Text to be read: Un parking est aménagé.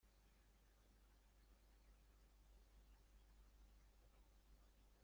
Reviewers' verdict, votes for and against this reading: rejected, 0, 2